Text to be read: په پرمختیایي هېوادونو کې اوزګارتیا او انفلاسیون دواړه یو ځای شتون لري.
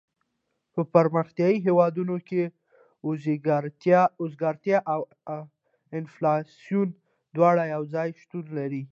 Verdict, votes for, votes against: accepted, 2, 0